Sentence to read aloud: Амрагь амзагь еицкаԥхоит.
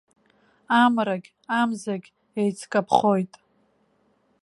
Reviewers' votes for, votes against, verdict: 2, 0, accepted